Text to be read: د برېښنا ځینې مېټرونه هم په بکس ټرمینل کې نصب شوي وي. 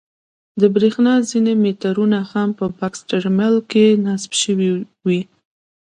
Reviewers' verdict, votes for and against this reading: rejected, 0, 2